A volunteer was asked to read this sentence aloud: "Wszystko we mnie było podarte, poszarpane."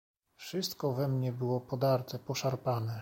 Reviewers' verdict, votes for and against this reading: accepted, 2, 0